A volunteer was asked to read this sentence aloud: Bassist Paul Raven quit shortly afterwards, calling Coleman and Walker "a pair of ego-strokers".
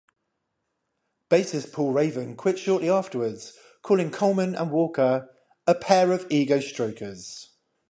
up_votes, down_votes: 0, 5